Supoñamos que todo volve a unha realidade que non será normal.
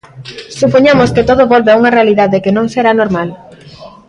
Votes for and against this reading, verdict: 2, 0, accepted